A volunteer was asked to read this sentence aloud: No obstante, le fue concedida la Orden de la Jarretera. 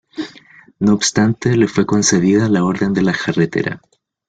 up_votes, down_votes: 2, 0